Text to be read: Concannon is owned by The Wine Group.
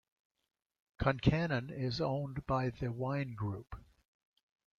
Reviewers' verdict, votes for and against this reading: accepted, 2, 0